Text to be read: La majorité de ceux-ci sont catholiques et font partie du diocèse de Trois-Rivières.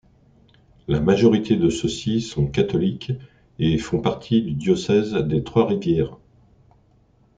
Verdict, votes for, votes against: rejected, 1, 2